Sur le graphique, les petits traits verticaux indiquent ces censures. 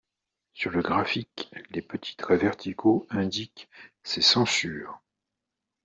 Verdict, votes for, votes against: accepted, 2, 0